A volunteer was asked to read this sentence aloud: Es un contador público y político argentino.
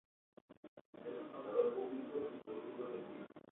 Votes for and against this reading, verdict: 0, 2, rejected